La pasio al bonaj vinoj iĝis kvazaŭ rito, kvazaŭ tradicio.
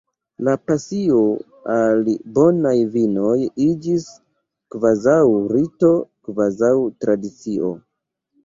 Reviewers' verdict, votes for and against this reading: accepted, 2, 1